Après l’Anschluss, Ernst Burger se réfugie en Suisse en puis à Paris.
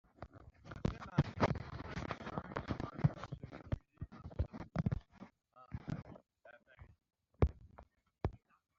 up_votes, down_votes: 0, 2